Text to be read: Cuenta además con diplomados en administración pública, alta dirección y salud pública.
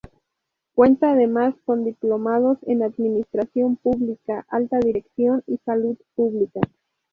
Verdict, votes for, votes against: accepted, 2, 0